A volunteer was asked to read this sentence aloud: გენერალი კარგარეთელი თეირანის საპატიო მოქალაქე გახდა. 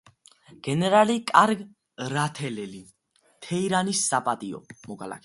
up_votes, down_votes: 0, 2